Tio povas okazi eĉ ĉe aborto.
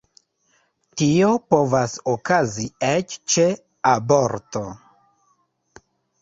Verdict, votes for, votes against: accepted, 2, 1